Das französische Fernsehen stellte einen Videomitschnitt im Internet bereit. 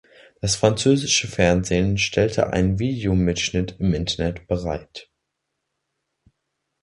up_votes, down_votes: 2, 0